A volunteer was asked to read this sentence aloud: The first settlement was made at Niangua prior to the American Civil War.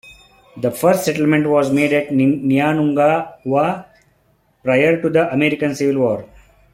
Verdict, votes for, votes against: rejected, 1, 2